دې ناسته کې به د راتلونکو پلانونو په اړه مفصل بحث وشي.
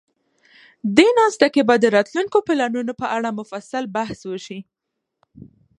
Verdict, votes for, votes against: accepted, 2, 0